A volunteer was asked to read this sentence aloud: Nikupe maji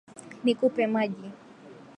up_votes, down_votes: 5, 2